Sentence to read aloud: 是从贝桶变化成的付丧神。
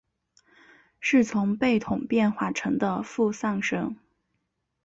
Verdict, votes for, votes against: accepted, 2, 0